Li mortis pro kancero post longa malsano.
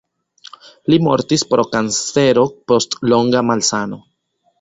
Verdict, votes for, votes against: accepted, 2, 0